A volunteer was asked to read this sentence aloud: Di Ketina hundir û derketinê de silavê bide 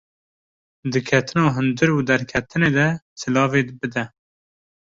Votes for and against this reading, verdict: 2, 0, accepted